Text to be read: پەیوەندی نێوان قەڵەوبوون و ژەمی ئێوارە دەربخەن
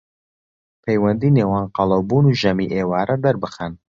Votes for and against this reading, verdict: 2, 0, accepted